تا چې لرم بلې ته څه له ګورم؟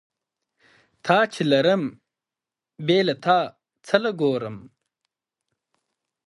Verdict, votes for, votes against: rejected, 0, 2